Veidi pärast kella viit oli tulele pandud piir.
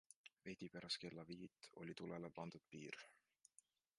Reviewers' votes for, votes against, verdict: 2, 1, accepted